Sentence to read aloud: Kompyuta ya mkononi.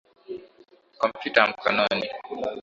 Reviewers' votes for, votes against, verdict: 7, 3, accepted